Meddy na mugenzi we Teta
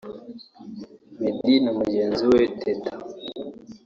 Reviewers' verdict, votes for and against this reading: rejected, 2, 3